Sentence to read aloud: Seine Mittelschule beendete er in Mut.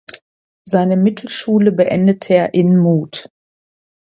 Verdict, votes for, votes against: accepted, 2, 0